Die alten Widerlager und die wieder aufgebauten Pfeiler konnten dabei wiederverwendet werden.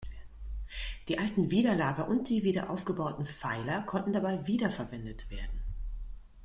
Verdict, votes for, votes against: rejected, 1, 2